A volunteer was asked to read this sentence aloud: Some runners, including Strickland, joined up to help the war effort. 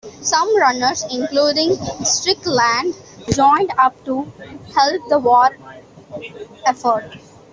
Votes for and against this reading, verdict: 2, 0, accepted